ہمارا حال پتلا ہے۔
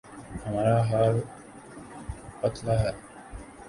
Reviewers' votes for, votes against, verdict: 1, 3, rejected